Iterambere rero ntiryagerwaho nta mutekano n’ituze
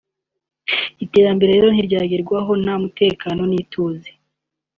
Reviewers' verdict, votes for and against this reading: accepted, 2, 0